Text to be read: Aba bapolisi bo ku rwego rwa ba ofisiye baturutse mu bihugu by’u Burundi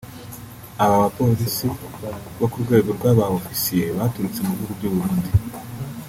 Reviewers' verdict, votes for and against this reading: accepted, 3, 1